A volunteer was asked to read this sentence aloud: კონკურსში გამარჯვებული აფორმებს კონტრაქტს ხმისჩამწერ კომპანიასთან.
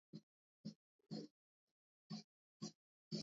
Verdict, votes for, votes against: rejected, 0, 2